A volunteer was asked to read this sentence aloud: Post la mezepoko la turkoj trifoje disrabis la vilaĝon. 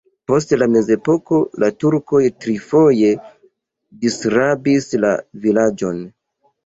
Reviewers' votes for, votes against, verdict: 2, 1, accepted